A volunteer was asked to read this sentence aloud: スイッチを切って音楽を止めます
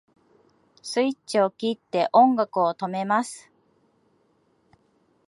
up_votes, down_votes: 2, 0